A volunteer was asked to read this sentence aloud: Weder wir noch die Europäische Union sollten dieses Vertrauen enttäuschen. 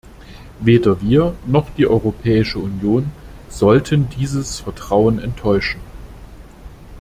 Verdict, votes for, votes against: accepted, 2, 0